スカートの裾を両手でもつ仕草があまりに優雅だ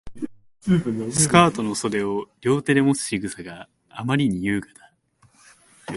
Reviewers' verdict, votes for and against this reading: rejected, 0, 2